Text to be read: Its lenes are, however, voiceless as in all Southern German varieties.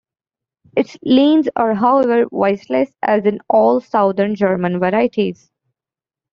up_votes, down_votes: 1, 2